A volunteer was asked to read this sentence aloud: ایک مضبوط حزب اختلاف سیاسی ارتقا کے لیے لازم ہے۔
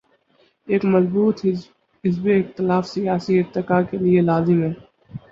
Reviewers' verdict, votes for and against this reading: rejected, 2, 2